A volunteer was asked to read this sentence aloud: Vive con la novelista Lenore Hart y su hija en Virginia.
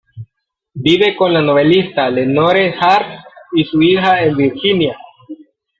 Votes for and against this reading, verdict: 0, 2, rejected